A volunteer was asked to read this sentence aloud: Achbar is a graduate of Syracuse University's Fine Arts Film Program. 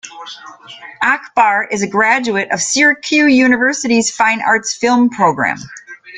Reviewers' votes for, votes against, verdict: 2, 3, rejected